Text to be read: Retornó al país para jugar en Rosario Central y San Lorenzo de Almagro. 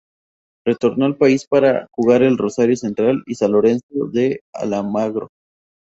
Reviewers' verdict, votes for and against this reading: rejected, 2, 2